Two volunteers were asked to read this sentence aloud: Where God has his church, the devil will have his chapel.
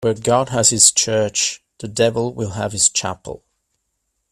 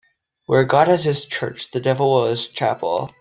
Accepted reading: first